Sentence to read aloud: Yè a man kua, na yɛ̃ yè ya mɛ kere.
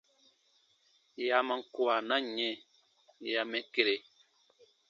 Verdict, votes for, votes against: accepted, 3, 2